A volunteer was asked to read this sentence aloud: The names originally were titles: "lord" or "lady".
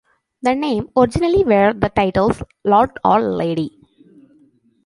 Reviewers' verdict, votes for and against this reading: rejected, 0, 2